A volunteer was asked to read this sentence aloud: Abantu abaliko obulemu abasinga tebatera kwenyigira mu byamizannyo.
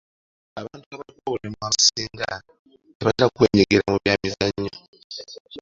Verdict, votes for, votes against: rejected, 1, 2